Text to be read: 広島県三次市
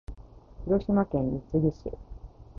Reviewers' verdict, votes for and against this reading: accepted, 3, 1